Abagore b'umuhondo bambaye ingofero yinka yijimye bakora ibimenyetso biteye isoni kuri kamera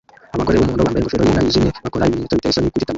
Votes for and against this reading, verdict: 0, 2, rejected